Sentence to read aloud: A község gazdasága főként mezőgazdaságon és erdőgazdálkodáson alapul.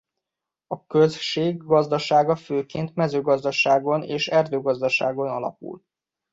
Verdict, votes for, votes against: rejected, 1, 2